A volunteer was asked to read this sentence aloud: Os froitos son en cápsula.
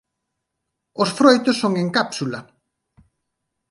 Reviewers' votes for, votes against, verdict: 2, 0, accepted